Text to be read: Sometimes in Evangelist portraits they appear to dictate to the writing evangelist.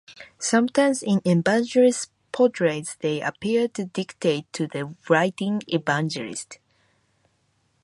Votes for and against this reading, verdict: 0, 4, rejected